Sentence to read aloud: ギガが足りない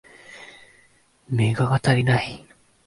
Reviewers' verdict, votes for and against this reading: rejected, 1, 2